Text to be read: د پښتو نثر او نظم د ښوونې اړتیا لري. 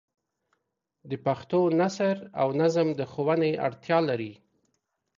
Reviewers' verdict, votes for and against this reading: accepted, 2, 0